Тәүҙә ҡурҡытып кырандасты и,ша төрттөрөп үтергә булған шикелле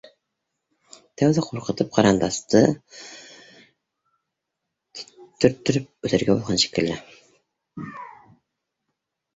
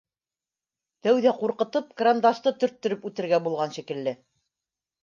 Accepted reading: first